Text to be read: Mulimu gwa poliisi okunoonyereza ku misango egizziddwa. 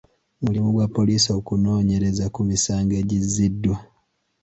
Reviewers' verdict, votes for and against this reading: accepted, 2, 0